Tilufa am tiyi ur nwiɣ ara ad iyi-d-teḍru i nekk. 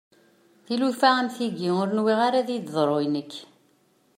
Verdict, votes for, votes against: accepted, 2, 0